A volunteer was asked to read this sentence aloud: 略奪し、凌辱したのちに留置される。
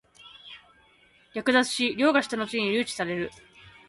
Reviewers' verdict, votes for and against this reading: rejected, 0, 4